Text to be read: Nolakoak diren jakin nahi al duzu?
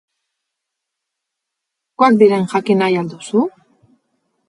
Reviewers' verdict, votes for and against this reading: rejected, 0, 4